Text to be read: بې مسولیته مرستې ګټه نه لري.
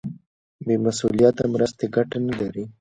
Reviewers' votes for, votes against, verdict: 0, 2, rejected